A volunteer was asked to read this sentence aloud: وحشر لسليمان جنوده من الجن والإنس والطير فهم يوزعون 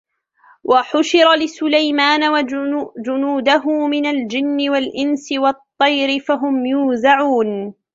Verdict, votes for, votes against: rejected, 1, 2